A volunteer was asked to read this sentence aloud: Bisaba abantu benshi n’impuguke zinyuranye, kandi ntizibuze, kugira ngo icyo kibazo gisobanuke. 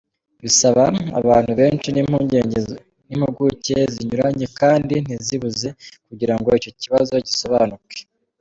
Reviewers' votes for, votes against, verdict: 1, 2, rejected